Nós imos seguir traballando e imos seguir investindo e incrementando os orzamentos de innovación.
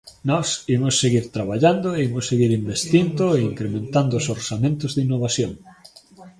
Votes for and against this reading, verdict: 2, 0, accepted